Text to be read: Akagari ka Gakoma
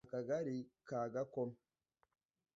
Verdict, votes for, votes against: accepted, 2, 0